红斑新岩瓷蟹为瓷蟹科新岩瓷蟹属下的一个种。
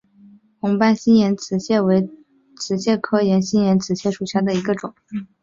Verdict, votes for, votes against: accepted, 5, 1